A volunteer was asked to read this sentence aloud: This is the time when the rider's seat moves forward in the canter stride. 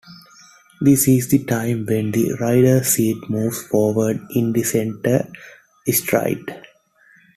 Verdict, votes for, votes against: rejected, 0, 2